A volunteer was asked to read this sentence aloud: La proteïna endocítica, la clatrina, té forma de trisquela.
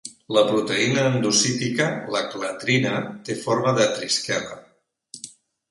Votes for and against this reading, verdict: 2, 0, accepted